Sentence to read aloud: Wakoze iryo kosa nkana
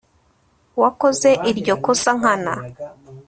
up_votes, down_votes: 2, 0